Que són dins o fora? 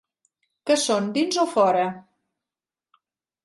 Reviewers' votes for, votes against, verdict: 3, 0, accepted